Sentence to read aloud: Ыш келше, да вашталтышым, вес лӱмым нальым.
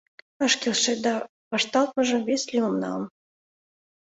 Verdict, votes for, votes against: rejected, 1, 2